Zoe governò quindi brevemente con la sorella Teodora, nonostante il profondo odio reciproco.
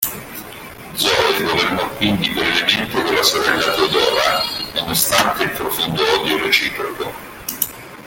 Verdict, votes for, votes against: rejected, 0, 2